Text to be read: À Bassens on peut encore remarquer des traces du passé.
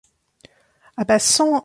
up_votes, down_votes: 0, 2